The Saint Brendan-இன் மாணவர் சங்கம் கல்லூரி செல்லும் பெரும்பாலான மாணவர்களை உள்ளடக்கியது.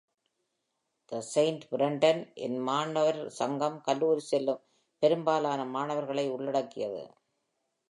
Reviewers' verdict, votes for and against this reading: accepted, 2, 0